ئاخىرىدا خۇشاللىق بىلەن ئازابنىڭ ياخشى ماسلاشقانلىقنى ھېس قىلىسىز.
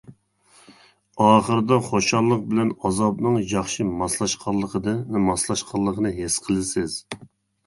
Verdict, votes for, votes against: rejected, 0, 2